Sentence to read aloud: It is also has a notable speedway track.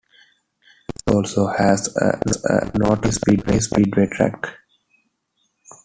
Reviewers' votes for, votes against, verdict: 1, 2, rejected